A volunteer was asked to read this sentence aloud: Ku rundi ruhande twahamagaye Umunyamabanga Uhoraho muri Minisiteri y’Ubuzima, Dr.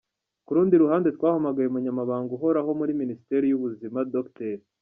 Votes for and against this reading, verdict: 1, 2, rejected